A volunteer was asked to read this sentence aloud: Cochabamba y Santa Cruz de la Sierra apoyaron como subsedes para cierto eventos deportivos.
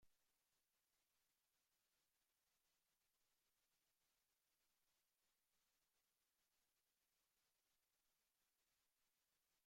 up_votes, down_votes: 0, 2